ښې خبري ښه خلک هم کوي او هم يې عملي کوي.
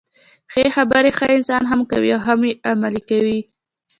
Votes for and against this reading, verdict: 2, 0, accepted